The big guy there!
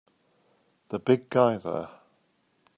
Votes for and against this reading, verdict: 2, 0, accepted